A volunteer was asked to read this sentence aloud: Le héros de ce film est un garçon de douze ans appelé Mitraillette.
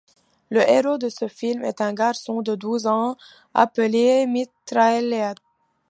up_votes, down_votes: 2, 1